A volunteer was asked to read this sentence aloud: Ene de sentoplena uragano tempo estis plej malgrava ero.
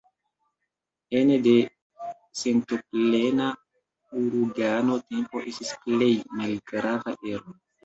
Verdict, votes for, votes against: accepted, 2, 0